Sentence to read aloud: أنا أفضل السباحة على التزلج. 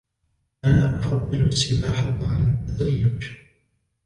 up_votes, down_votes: 2, 0